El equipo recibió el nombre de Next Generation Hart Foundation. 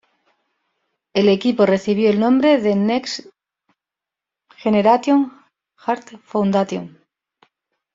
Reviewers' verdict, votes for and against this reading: rejected, 1, 2